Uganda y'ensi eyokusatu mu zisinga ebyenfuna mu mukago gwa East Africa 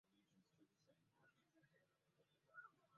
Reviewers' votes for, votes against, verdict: 0, 2, rejected